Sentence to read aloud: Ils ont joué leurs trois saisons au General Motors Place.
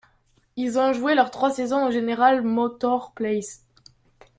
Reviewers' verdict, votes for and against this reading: rejected, 1, 2